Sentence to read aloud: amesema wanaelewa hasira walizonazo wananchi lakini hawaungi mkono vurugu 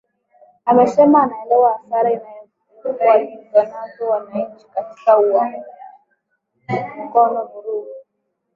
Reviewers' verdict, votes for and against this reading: rejected, 0, 2